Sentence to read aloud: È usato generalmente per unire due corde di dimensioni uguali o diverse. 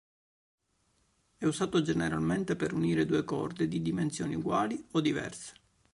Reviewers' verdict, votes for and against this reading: accepted, 2, 0